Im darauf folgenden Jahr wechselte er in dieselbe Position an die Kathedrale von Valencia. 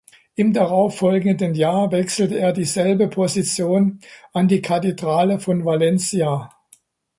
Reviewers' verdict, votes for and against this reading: rejected, 0, 2